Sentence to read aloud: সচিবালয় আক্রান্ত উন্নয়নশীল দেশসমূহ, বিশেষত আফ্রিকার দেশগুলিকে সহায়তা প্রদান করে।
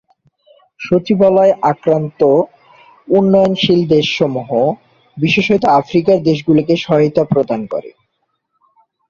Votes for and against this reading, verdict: 2, 0, accepted